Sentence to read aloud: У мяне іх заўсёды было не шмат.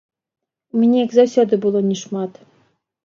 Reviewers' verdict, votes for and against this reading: rejected, 0, 3